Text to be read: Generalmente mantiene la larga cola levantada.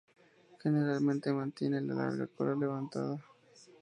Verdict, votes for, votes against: accepted, 2, 0